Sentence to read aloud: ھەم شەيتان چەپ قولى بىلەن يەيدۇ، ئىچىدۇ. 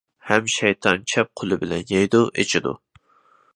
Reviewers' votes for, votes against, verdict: 2, 0, accepted